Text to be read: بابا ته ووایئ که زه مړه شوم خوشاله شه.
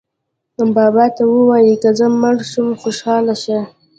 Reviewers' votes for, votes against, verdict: 0, 2, rejected